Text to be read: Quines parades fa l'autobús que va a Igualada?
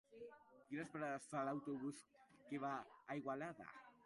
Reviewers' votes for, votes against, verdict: 0, 2, rejected